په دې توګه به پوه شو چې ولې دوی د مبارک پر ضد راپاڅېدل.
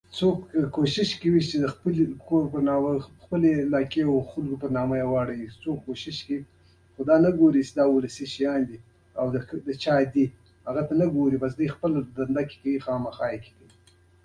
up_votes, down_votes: 1, 2